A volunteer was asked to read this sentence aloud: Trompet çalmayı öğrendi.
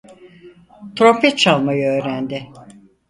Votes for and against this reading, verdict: 4, 0, accepted